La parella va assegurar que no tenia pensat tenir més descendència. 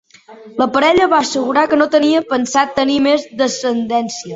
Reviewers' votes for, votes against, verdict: 3, 0, accepted